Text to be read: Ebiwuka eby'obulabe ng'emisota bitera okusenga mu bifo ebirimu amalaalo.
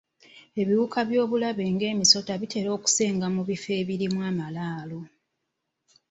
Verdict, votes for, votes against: rejected, 1, 2